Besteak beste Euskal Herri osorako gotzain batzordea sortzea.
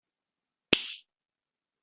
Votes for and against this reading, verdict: 0, 2, rejected